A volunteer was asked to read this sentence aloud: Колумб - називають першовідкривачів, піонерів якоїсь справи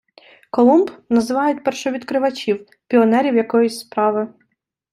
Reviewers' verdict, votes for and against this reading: accepted, 2, 0